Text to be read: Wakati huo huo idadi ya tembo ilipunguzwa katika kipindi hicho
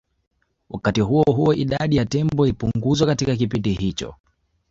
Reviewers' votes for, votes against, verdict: 2, 0, accepted